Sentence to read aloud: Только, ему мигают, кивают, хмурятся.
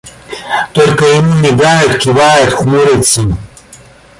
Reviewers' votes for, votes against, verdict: 0, 2, rejected